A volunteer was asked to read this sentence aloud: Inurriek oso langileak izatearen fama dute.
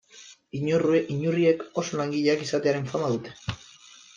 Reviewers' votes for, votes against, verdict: 0, 2, rejected